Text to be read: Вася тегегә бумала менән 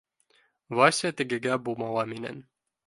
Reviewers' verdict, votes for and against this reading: accepted, 2, 0